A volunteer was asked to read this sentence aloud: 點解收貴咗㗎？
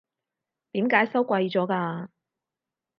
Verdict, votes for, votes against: accepted, 4, 0